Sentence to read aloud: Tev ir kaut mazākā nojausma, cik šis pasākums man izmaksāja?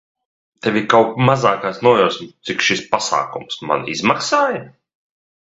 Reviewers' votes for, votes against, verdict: 0, 2, rejected